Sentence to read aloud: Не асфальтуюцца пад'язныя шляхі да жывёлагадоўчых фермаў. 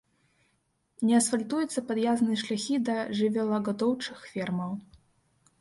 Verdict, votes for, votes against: rejected, 1, 2